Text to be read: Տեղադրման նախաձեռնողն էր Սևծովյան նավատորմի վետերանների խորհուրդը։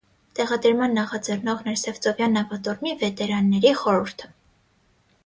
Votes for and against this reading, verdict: 6, 0, accepted